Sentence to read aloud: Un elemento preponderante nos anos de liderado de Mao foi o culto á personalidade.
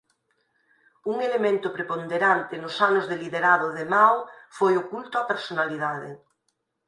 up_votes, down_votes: 6, 0